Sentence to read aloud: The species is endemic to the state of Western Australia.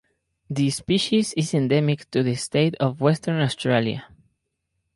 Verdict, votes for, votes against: accepted, 4, 0